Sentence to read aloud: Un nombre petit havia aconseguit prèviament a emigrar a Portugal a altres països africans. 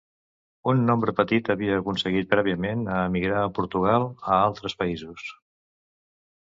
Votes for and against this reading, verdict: 0, 2, rejected